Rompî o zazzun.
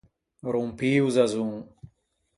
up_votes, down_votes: 2, 4